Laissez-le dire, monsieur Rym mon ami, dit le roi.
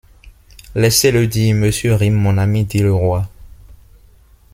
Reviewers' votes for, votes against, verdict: 1, 2, rejected